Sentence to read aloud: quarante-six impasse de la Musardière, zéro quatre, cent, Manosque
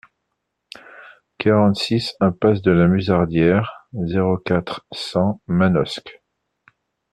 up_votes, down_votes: 2, 0